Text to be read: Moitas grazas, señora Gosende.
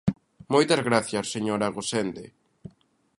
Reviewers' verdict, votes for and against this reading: rejected, 0, 2